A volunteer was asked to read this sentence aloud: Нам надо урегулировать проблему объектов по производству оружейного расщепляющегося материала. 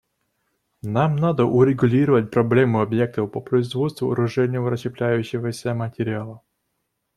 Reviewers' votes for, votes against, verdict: 2, 0, accepted